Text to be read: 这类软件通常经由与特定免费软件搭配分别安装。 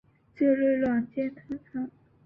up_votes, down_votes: 0, 2